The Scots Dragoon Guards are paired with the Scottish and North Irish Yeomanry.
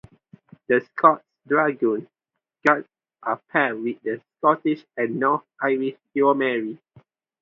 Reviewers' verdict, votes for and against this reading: rejected, 2, 2